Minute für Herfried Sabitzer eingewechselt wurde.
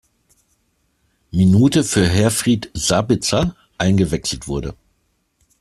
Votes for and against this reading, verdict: 2, 0, accepted